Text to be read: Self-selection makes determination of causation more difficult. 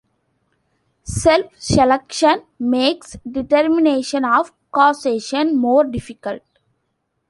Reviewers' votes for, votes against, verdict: 2, 0, accepted